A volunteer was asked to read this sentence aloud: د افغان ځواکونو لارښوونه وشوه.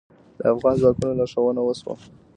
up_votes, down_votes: 1, 2